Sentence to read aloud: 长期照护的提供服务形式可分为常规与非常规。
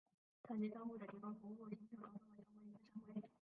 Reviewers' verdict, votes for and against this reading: rejected, 0, 3